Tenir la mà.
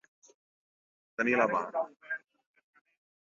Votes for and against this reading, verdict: 0, 2, rejected